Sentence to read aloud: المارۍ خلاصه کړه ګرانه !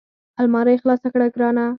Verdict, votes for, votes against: rejected, 2, 4